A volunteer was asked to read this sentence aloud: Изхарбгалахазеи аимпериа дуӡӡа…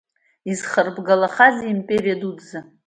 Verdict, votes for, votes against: accepted, 2, 0